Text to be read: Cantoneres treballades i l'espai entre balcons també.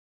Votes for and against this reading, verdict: 0, 2, rejected